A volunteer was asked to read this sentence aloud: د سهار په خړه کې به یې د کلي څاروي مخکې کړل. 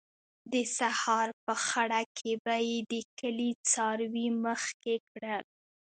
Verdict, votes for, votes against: accepted, 2, 0